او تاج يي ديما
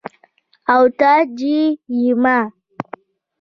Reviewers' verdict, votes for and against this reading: accepted, 2, 0